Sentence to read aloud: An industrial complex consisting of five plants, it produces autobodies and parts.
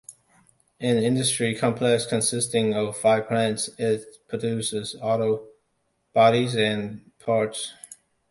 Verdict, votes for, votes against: rejected, 1, 2